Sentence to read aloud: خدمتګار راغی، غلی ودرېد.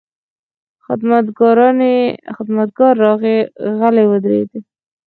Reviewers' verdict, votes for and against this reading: rejected, 0, 4